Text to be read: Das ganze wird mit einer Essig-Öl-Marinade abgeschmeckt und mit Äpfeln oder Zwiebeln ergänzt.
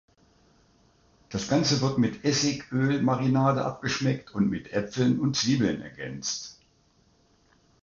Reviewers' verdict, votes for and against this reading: rejected, 0, 2